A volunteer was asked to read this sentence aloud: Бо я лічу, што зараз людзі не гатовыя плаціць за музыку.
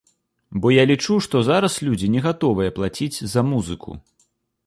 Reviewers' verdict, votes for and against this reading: accepted, 2, 0